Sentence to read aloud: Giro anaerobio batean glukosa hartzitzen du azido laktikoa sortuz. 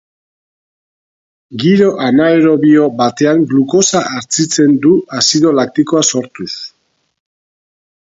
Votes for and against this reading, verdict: 2, 2, rejected